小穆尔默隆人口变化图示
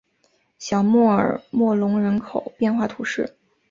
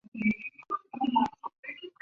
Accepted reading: first